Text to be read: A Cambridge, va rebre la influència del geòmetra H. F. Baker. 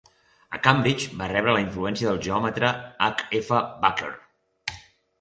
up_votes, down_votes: 2, 0